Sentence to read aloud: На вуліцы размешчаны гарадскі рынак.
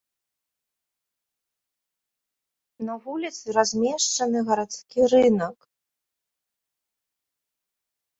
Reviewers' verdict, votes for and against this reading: accepted, 2, 0